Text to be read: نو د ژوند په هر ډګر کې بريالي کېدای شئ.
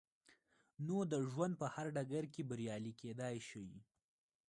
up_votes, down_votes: 1, 2